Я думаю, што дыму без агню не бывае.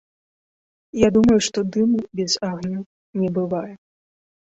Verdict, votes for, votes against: accepted, 2, 0